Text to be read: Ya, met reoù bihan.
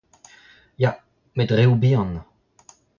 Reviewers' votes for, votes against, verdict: 2, 0, accepted